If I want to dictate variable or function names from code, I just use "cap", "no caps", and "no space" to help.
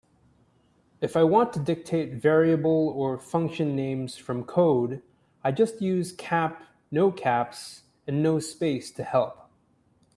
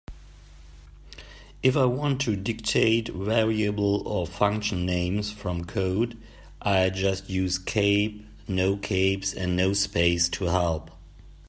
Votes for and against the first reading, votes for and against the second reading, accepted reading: 2, 0, 0, 2, first